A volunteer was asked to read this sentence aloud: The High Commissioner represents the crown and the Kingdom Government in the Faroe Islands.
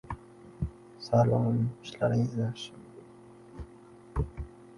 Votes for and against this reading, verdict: 0, 2, rejected